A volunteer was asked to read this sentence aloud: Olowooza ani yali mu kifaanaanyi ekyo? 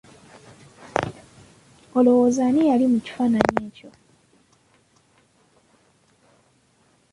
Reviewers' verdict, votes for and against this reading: rejected, 1, 2